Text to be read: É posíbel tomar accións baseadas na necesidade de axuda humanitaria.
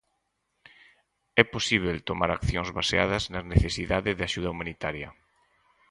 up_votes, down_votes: 4, 0